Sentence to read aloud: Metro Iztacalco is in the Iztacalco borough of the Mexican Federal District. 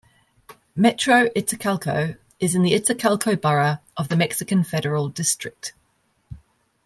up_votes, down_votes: 2, 0